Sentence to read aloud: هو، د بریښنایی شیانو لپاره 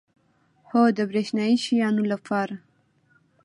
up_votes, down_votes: 2, 0